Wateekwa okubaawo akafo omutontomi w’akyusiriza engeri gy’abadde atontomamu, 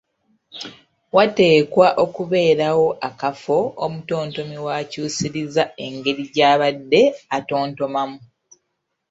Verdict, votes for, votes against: accepted, 2, 1